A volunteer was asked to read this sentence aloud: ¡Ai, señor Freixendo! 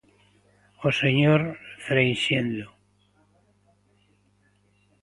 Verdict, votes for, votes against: rejected, 0, 2